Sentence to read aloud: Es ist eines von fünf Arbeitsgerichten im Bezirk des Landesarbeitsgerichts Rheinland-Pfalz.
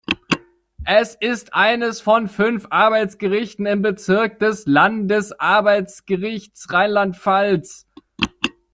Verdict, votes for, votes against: accepted, 2, 0